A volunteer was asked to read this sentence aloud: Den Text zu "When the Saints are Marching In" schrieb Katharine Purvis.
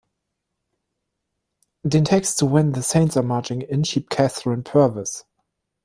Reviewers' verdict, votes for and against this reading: accepted, 2, 0